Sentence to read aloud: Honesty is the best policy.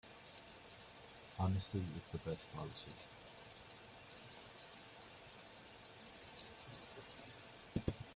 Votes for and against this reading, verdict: 1, 2, rejected